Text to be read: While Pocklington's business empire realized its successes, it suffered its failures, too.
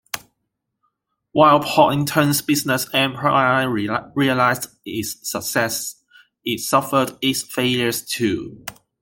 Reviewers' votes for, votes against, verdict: 0, 3, rejected